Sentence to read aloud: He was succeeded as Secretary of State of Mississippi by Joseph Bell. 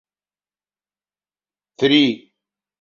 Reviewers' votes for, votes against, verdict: 0, 2, rejected